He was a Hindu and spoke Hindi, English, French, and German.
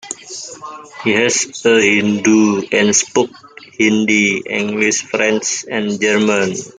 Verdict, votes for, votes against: rejected, 0, 2